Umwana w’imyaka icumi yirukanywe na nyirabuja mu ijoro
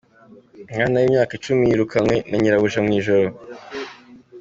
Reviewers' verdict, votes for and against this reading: accepted, 3, 0